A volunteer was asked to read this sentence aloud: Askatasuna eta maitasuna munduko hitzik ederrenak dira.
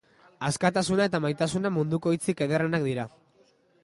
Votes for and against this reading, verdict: 2, 0, accepted